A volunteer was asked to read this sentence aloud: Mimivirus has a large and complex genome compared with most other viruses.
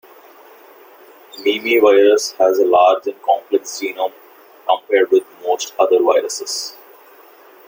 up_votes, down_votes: 1, 2